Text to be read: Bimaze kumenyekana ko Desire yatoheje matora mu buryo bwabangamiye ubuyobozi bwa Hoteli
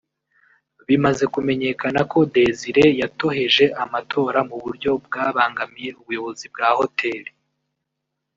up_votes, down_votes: 1, 2